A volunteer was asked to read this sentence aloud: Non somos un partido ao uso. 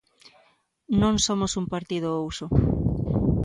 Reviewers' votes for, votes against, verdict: 2, 0, accepted